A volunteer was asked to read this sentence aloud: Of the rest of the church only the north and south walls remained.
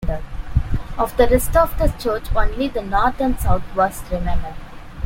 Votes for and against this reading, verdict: 2, 3, rejected